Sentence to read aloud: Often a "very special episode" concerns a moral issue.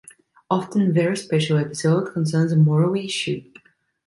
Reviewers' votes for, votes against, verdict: 0, 2, rejected